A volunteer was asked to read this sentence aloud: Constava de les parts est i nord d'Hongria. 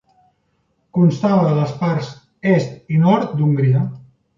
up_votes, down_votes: 2, 1